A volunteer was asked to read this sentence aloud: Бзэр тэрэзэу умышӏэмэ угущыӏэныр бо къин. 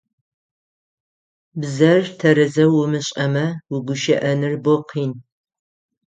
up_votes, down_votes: 6, 0